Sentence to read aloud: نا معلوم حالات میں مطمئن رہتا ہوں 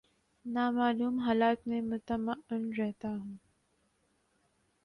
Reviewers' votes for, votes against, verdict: 1, 2, rejected